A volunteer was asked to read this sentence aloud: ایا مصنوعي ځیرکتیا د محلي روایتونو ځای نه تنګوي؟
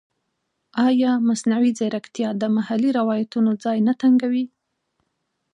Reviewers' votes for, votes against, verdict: 2, 0, accepted